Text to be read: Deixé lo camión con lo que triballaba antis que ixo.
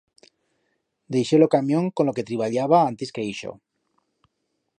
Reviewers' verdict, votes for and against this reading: accepted, 2, 0